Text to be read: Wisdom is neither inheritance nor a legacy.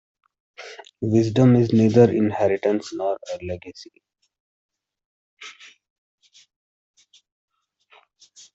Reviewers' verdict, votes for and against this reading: rejected, 1, 2